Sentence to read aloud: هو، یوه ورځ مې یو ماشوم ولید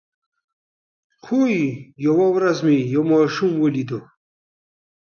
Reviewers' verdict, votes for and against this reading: rejected, 0, 2